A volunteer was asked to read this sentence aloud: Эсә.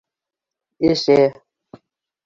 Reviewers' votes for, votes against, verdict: 1, 2, rejected